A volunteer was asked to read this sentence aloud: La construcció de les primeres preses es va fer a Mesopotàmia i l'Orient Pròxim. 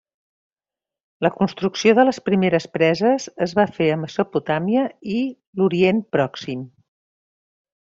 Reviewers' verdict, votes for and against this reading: rejected, 0, 2